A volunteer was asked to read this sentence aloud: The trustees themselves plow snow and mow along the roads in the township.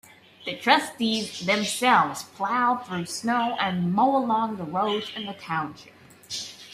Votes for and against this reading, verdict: 2, 1, accepted